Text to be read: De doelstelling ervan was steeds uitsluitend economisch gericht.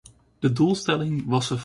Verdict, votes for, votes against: rejected, 0, 2